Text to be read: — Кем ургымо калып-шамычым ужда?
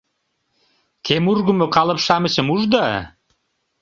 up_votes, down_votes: 2, 0